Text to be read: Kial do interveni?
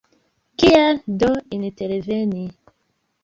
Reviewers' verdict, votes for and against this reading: accepted, 2, 0